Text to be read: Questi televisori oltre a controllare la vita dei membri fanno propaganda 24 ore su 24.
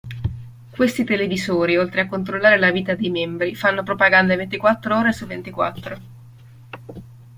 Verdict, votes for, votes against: rejected, 0, 2